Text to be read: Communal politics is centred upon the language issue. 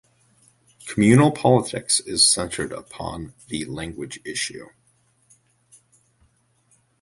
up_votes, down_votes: 2, 0